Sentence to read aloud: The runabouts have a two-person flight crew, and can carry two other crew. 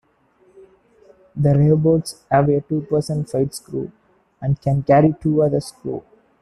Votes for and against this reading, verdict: 1, 2, rejected